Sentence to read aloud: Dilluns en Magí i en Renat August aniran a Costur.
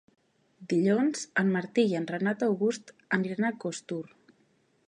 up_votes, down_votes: 0, 2